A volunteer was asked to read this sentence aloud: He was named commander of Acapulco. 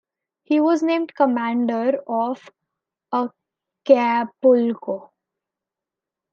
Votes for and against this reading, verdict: 0, 2, rejected